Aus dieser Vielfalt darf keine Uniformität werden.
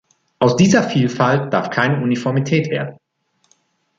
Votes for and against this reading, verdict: 1, 2, rejected